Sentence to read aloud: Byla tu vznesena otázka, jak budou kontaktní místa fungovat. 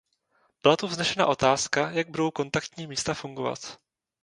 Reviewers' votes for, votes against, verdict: 0, 2, rejected